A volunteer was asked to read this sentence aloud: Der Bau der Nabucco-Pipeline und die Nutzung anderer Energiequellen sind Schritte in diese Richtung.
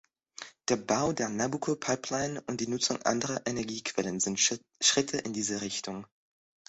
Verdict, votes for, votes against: rejected, 0, 2